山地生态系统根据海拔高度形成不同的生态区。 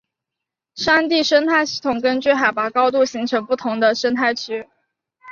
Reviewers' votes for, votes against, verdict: 2, 0, accepted